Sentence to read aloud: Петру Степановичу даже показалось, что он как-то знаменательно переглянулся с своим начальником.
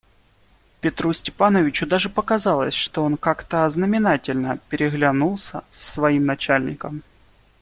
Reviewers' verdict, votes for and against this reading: rejected, 1, 2